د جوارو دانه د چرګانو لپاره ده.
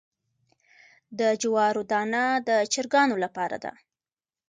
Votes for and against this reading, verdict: 2, 0, accepted